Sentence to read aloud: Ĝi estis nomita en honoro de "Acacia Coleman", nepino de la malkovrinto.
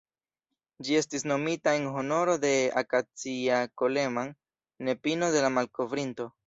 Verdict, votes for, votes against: accepted, 2, 1